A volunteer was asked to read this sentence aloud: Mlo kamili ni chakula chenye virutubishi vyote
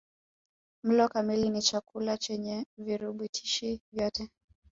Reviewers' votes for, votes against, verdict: 0, 2, rejected